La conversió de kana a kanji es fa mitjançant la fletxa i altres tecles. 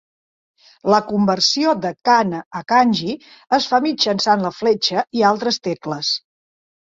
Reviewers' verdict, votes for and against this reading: accepted, 3, 0